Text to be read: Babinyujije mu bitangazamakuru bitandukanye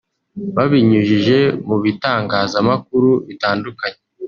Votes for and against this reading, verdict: 2, 0, accepted